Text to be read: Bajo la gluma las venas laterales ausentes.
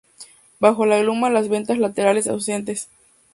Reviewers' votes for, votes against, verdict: 0, 2, rejected